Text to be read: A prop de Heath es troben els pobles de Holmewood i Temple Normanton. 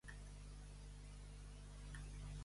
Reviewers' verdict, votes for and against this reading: rejected, 0, 3